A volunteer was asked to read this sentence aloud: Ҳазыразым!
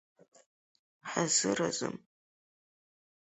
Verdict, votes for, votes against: accepted, 4, 2